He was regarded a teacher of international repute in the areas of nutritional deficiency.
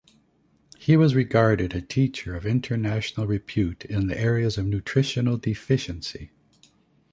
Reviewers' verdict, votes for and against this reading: accepted, 2, 0